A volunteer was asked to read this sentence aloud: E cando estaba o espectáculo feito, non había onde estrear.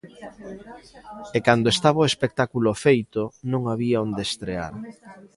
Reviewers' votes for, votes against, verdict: 0, 2, rejected